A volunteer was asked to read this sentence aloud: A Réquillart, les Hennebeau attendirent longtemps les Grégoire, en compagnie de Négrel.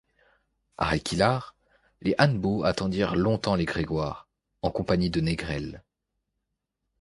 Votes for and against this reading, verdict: 1, 2, rejected